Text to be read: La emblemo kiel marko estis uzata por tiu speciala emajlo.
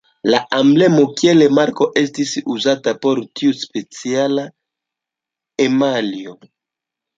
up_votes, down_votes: 1, 2